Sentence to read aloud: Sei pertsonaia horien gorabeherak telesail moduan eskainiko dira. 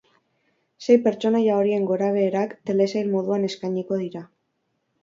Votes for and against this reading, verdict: 4, 0, accepted